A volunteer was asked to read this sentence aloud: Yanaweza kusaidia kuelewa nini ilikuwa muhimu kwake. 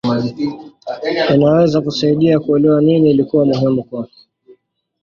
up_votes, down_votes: 0, 2